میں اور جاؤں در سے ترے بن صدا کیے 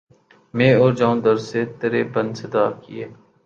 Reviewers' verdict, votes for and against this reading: accepted, 12, 0